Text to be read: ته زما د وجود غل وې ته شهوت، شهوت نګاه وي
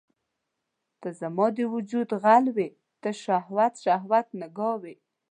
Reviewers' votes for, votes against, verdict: 2, 0, accepted